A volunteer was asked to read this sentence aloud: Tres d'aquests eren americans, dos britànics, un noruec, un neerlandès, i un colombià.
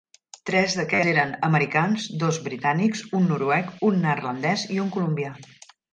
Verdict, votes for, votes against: rejected, 1, 2